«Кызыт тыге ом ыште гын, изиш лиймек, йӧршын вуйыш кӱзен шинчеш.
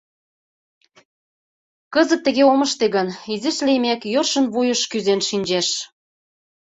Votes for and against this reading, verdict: 2, 0, accepted